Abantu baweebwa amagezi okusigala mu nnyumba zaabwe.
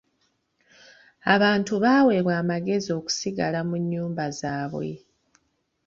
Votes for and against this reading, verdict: 2, 0, accepted